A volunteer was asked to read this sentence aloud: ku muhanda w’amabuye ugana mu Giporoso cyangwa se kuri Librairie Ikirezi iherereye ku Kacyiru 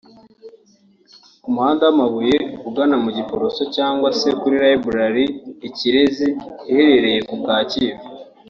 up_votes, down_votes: 2, 1